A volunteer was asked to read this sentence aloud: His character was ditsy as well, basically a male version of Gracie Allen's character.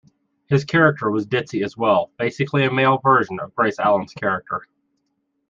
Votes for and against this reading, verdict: 0, 2, rejected